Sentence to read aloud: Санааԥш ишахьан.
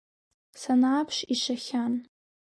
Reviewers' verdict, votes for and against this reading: accepted, 2, 0